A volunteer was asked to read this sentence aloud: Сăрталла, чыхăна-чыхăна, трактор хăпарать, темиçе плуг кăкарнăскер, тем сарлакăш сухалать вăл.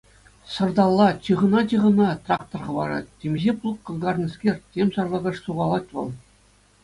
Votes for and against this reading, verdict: 2, 0, accepted